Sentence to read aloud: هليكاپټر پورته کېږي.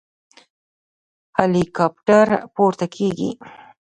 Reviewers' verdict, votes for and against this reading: rejected, 0, 3